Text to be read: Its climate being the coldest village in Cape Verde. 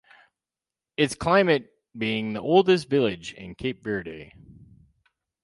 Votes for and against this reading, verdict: 0, 4, rejected